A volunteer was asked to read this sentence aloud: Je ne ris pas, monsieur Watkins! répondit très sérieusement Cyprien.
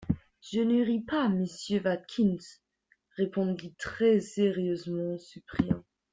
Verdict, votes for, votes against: accepted, 2, 0